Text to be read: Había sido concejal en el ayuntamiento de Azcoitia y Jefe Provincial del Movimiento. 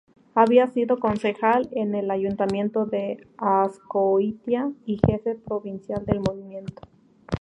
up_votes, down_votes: 2, 0